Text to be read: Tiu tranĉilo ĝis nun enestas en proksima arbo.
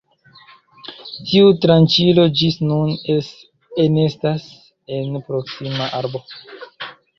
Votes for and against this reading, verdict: 0, 2, rejected